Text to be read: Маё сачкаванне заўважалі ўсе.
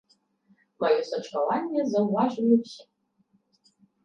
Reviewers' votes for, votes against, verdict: 0, 2, rejected